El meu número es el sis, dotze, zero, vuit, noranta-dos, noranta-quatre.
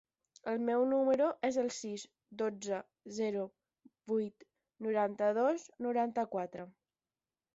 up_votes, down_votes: 10, 0